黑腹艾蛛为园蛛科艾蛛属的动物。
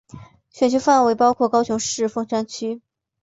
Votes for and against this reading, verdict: 0, 2, rejected